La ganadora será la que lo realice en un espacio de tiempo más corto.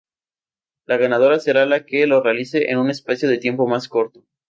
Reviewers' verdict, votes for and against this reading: rejected, 0, 2